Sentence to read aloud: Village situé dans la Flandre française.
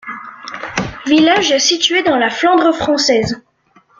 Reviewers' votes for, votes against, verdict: 2, 0, accepted